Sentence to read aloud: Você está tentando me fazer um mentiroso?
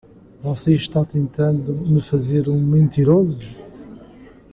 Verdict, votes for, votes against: accepted, 2, 0